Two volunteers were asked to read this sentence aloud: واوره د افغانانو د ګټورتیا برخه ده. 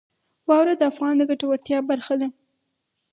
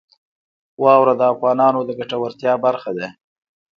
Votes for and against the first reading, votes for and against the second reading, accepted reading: 0, 4, 2, 1, second